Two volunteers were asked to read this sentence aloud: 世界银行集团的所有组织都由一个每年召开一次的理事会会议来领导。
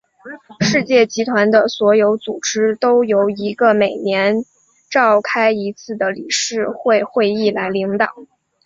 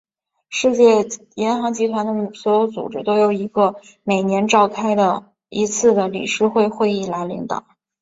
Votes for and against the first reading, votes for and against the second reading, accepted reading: 2, 0, 1, 2, first